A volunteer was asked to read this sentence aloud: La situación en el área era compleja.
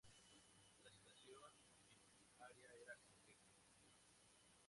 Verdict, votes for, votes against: rejected, 0, 4